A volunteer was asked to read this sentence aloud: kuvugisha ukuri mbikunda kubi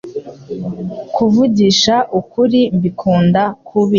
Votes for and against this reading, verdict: 2, 0, accepted